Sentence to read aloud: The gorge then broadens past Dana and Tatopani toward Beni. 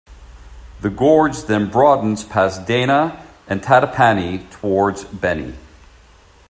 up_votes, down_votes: 2, 1